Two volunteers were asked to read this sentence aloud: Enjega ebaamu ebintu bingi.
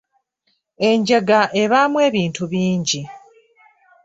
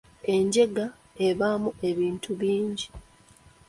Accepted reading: first